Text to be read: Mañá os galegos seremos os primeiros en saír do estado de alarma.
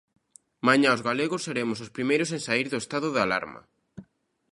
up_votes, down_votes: 2, 0